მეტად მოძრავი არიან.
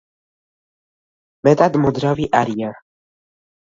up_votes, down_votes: 2, 0